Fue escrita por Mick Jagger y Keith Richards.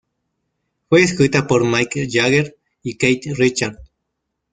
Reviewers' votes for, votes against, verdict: 0, 2, rejected